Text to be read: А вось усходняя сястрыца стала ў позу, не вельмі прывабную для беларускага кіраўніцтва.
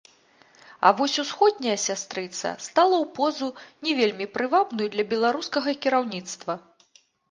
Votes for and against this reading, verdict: 2, 0, accepted